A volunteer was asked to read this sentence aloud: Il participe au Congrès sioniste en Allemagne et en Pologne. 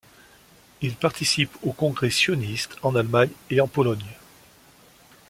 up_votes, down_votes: 2, 0